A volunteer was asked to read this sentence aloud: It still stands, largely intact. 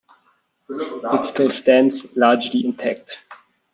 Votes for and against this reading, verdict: 2, 1, accepted